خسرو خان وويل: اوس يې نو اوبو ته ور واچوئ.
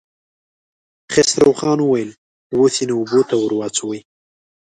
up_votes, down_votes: 0, 2